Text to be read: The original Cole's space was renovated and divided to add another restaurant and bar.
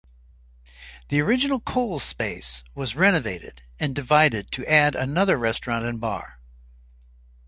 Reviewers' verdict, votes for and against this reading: accepted, 2, 0